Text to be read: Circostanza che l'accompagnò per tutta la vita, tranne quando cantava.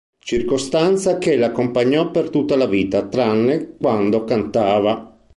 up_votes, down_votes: 2, 0